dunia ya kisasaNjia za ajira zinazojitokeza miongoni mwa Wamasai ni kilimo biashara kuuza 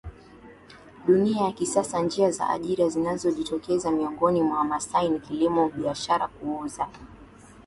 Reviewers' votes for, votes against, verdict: 2, 1, accepted